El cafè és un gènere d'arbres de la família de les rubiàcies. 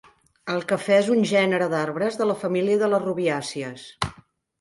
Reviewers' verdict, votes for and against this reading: accepted, 3, 0